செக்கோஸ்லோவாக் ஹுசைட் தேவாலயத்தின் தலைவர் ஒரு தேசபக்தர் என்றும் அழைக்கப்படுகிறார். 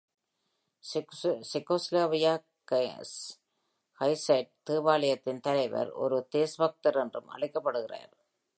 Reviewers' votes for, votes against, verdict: 0, 2, rejected